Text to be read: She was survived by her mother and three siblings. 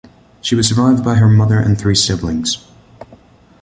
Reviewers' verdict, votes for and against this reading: accepted, 2, 0